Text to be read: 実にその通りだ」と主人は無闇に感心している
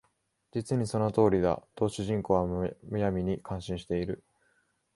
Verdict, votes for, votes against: accepted, 2, 0